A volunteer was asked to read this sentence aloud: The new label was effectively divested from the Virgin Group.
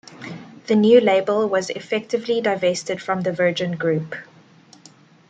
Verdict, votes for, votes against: accepted, 2, 1